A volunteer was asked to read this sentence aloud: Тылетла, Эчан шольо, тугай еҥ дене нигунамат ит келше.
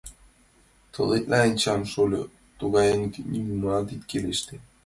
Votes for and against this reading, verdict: 0, 2, rejected